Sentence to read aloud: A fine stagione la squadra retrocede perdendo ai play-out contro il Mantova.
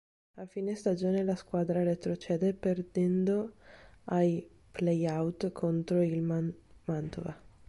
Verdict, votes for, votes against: rejected, 1, 3